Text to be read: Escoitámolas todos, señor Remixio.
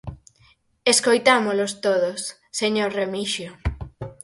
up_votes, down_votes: 0, 4